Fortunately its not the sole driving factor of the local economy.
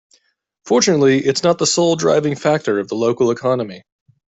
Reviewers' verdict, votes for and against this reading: accepted, 2, 0